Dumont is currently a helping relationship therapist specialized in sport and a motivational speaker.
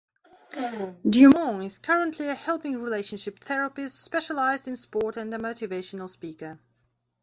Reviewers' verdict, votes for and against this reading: accepted, 2, 0